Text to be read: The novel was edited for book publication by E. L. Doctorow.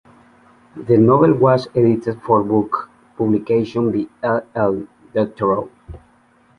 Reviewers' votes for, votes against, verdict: 2, 1, accepted